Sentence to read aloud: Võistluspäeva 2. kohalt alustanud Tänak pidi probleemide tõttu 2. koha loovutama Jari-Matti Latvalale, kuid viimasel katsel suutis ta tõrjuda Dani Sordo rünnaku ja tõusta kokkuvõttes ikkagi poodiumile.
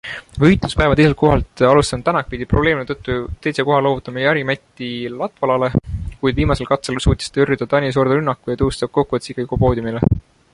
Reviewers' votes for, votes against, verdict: 0, 2, rejected